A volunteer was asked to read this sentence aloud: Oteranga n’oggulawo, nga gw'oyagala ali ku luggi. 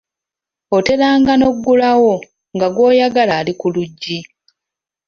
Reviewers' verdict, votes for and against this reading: accepted, 2, 0